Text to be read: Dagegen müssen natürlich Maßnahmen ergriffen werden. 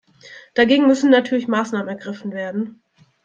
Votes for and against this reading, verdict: 2, 0, accepted